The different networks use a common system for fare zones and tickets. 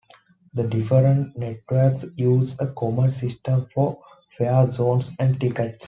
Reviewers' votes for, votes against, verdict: 2, 0, accepted